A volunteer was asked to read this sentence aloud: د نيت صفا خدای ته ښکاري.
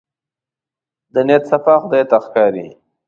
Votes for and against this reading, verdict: 2, 0, accepted